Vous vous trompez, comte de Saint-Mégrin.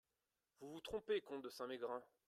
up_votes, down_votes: 2, 0